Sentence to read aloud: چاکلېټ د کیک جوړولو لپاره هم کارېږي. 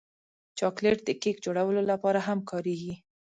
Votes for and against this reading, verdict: 2, 0, accepted